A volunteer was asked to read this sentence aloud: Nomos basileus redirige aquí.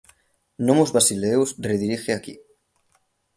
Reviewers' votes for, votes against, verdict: 0, 3, rejected